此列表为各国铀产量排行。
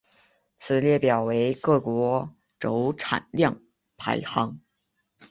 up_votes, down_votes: 2, 0